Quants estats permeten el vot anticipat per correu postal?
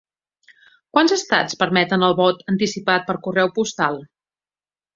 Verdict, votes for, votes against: accepted, 2, 0